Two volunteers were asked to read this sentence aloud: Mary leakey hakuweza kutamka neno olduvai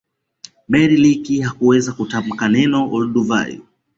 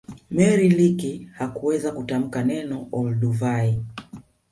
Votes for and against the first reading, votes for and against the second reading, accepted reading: 2, 0, 0, 2, first